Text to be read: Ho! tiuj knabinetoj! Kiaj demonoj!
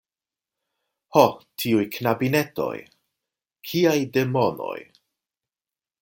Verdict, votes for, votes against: accepted, 2, 0